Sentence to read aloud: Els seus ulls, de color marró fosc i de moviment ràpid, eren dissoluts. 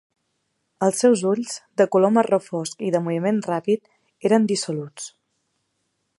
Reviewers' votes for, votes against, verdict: 3, 0, accepted